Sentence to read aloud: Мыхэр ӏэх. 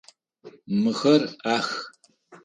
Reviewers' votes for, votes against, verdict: 0, 4, rejected